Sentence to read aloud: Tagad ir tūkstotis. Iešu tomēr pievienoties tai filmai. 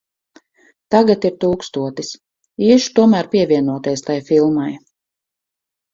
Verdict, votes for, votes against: accepted, 4, 0